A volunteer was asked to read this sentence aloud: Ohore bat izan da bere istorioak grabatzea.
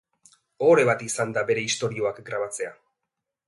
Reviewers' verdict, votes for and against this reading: accepted, 4, 0